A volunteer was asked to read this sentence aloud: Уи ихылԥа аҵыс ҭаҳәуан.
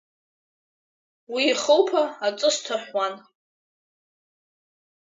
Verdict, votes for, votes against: accepted, 2, 0